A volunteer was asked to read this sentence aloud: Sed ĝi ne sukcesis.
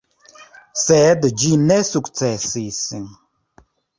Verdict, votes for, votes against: rejected, 0, 2